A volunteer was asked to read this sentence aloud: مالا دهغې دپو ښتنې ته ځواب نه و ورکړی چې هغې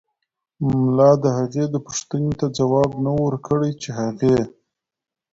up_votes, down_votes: 1, 2